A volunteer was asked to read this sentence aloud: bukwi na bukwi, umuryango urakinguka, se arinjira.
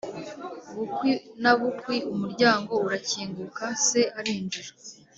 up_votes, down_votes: 3, 1